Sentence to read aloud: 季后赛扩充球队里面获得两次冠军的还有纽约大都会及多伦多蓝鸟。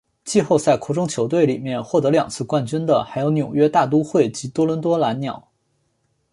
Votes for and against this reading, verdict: 2, 1, accepted